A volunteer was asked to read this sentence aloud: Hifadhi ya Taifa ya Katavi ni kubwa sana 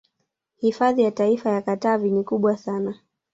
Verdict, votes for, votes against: accepted, 2, 0